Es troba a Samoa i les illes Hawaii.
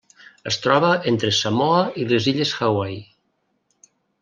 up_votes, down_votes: 0, 2